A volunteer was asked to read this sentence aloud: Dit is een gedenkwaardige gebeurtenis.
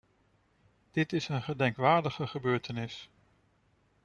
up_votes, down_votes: 2, 0